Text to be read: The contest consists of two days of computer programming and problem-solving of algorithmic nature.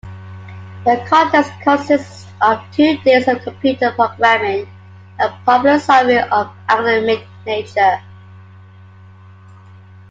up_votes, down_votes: 1, 2